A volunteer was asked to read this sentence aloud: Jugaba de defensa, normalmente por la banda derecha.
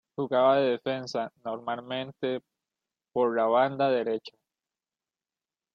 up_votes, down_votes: 2, 0